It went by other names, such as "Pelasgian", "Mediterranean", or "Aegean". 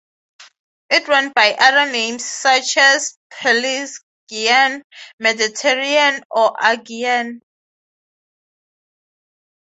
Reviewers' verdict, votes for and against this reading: accepted, 3, 0